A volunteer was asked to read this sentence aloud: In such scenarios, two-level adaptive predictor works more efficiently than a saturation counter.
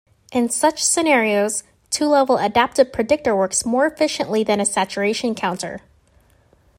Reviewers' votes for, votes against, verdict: 2, 0, accepted